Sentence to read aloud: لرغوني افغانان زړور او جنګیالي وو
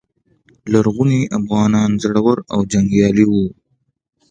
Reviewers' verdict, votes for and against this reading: accepted, 2, 0